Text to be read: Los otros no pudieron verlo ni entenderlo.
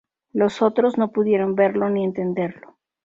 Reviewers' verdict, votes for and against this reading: accepted, 2, 0